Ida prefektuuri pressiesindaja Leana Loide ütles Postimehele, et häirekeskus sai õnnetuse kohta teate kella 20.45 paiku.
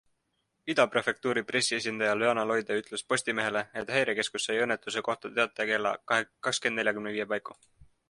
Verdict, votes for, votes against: rejected, 0, 2